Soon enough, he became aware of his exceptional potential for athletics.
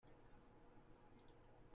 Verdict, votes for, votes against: rejected, 0, 2